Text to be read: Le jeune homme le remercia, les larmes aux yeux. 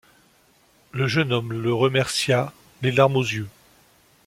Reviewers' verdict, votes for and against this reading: accepted, 2, 0